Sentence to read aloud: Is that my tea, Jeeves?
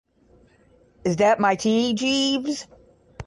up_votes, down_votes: 5, 5